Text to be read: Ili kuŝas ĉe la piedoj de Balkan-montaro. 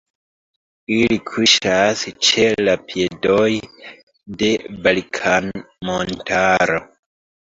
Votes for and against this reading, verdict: 0, 2, rejected